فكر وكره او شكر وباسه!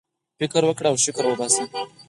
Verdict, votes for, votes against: rejected, 0, 4